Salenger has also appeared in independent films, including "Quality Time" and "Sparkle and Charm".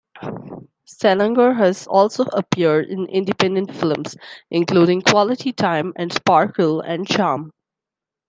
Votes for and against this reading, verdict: 2, 1, accepted